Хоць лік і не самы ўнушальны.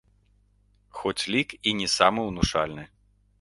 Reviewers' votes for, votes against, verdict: 3, 0, accepted